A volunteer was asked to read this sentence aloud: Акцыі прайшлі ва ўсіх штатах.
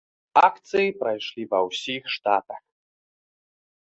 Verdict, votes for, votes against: accepted, 2, 0